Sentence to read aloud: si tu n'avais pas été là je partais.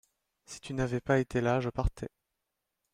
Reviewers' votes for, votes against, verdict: 2, 0, accepted